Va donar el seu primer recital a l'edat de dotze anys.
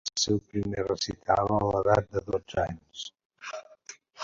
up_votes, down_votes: 0, 2